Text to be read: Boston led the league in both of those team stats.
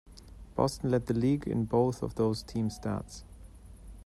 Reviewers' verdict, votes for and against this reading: accepted, 2, 0